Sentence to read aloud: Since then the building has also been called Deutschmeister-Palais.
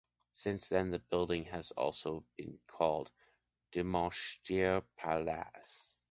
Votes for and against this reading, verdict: 1, 2, rejected